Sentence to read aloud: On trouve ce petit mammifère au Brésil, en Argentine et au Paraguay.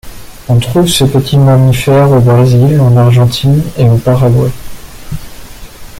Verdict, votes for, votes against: accepted, 2, 0